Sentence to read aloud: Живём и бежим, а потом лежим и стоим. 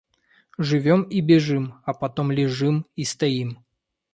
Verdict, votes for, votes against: accepted, 2, 0